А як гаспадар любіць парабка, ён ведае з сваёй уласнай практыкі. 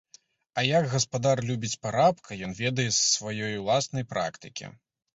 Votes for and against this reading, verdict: 2, 0, accepted